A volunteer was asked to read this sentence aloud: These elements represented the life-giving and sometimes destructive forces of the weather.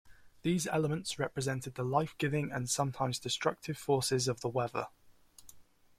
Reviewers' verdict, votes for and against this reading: accepted, 3, 0